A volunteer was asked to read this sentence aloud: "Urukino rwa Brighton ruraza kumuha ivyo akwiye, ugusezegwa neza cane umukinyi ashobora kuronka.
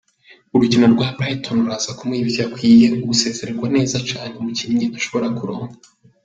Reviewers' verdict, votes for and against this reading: accepted, 3, 0